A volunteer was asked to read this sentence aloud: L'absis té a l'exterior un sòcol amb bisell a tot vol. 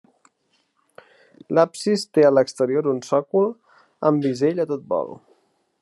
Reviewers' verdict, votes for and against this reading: accepted, 2, 0